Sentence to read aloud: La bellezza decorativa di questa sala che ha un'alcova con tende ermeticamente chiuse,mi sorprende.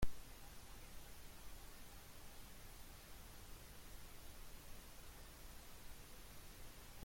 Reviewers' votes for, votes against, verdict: 0, 2, rejected